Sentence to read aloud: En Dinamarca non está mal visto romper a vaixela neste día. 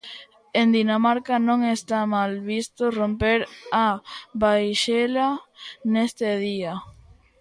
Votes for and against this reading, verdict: 1, 2, rejected